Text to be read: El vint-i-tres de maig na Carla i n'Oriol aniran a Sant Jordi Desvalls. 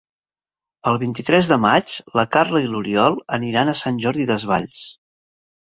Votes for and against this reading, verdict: 0, 2, rejected